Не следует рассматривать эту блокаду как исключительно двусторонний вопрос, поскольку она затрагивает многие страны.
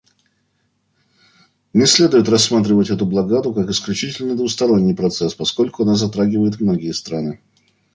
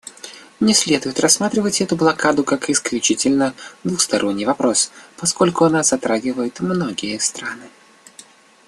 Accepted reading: second